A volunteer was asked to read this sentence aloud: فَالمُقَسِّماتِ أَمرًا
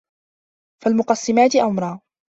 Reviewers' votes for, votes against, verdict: 2, 0, accepted